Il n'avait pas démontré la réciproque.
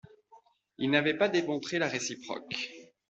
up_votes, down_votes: 2, 0